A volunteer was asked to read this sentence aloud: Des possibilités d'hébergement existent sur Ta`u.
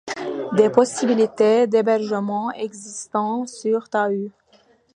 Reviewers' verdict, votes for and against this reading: rejected, 1, 2